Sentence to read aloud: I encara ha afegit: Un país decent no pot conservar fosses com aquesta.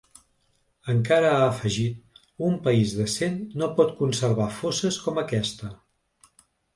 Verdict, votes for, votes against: rejected, 1, 3